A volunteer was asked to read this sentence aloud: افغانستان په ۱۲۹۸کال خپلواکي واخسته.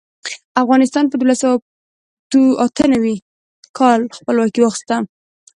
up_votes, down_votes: 0, 2